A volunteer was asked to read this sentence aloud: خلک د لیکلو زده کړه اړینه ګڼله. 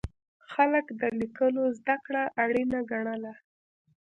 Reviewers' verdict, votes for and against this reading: accepted, 2, 0